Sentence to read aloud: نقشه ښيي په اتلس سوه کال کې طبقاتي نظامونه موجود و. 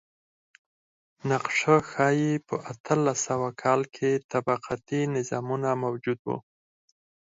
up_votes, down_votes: 2, 4